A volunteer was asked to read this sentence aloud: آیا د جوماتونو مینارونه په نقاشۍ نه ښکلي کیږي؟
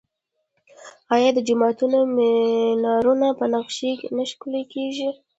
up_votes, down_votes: 1, 2